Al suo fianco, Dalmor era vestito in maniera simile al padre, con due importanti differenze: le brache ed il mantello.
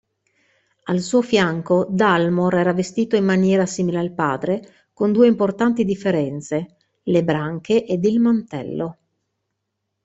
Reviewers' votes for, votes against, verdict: 0, 2, rejected